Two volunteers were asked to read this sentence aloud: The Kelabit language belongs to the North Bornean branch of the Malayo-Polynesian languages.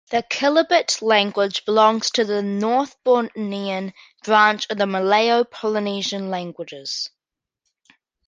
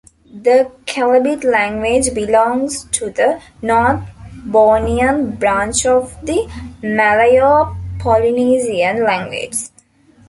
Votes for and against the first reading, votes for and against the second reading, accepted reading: 2, 0, 0, 2, first